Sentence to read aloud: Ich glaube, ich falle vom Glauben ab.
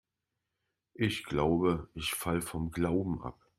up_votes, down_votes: 2, 0